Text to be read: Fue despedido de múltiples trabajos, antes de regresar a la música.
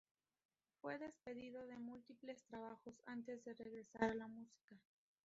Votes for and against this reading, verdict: 2, 0, accepted